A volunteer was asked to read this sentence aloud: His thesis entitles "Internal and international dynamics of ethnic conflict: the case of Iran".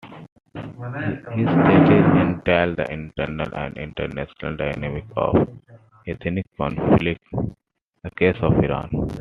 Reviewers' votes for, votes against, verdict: 2, 0, accepted